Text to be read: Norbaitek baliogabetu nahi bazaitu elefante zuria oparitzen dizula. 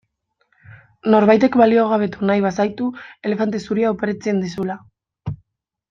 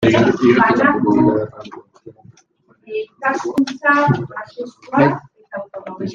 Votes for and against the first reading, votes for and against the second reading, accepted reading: 2, 0, 0, 2, first